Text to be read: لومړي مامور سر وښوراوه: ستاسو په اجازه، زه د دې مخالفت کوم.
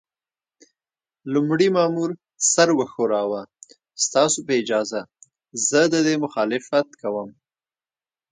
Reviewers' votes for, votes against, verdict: 1, 2, rejected